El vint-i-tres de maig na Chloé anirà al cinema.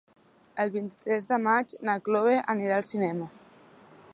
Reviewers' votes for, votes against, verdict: 1, 2, rejected